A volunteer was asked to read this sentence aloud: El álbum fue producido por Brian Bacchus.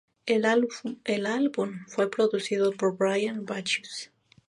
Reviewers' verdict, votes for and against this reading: accepted, 2, 0